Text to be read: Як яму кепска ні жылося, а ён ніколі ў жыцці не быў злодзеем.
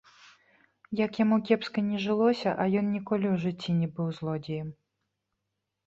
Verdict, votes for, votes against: accepted, 2, 0